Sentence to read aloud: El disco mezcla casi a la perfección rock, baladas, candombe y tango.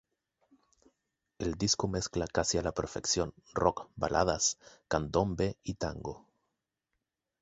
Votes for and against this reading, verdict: 0, 2, rejected